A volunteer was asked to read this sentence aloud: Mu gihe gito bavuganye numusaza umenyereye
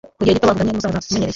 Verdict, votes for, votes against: rejected, 1, 2